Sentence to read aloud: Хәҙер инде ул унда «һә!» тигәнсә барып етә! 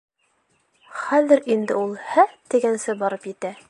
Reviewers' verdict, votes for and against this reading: rejected, 1, 2